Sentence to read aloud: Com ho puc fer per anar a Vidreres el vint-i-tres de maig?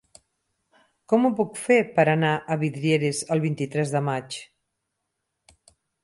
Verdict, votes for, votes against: rejected, 0, 4